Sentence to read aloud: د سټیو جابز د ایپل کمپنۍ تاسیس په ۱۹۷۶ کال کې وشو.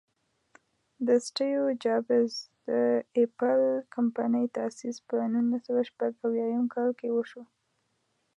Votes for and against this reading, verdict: 0, 2, rejected